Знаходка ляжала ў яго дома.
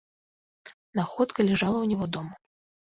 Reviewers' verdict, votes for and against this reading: rejected, 0, 2